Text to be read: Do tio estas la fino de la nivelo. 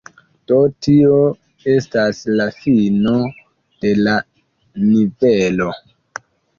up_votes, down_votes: 1, 2